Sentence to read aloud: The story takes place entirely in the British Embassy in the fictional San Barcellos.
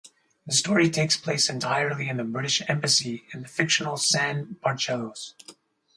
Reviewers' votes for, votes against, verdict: 2, 0, accepted